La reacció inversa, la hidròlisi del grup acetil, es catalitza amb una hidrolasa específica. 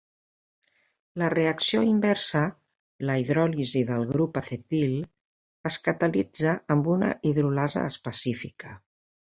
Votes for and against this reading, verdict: 1, 2, rejected